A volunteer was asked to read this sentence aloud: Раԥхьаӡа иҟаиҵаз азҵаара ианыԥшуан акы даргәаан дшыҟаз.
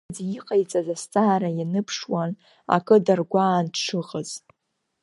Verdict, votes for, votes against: rejected, 0, 2